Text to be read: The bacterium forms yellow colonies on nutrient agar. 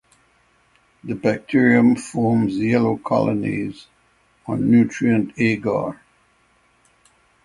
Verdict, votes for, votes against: accepted, 6, 0